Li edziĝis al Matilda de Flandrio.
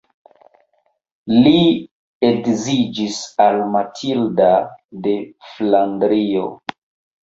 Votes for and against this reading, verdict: 0, 2, rejected